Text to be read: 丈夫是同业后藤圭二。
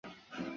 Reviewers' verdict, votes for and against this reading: rejected, 0, 4